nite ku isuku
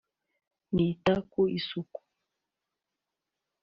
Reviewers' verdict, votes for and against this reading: rejected, 1, 3